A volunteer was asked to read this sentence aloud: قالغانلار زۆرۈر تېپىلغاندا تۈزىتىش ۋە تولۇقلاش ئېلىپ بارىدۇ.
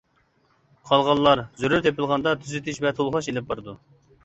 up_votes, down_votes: 2, 0